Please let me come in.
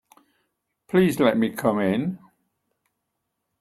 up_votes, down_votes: 2, 0